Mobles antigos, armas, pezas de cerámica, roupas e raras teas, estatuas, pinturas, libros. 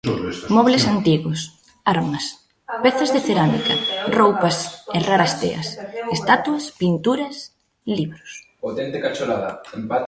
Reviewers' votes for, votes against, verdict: 0, 2, rejected